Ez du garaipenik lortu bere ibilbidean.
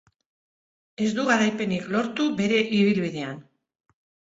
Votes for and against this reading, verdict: 0, 2, rejected